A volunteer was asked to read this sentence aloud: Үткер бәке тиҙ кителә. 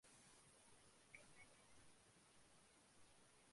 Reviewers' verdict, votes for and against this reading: rejected, 0, 2